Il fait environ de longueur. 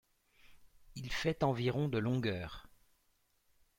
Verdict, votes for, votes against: accepted, 2, 0